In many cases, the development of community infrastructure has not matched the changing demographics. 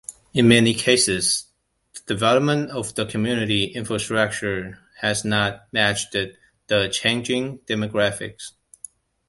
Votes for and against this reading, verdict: 1, 2, rejected